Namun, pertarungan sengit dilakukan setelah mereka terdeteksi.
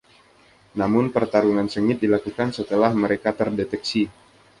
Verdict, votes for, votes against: accepted, 2, 0